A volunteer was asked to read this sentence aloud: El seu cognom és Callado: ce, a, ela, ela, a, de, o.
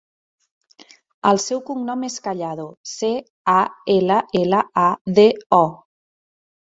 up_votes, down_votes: 3, 0